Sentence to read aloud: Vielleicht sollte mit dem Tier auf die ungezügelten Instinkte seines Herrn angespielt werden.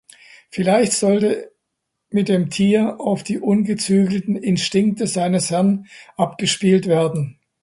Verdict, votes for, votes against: rejected, 0, 2